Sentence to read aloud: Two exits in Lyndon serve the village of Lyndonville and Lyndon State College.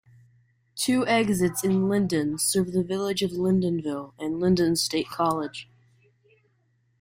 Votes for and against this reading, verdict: 1, 2, rejected